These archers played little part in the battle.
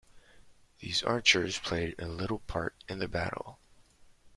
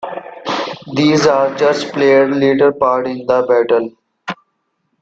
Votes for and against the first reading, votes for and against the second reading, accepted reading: 1, 2, 3, 1, second